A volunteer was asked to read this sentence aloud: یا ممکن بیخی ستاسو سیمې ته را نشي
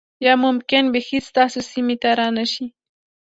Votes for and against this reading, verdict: 2, 1, accepted